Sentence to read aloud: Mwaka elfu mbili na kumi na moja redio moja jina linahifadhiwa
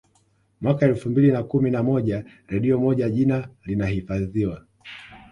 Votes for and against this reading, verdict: 2, 0, accepted